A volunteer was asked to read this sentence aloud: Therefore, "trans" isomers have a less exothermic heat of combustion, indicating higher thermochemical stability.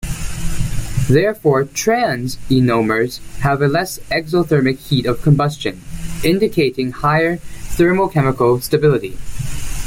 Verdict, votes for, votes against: rejected, 0, 2